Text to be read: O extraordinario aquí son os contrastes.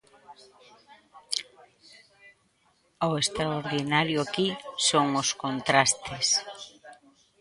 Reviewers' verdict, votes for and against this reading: rejected, 0, 2